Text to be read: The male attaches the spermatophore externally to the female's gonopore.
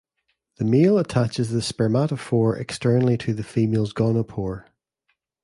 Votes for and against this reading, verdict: 2, 1, accepted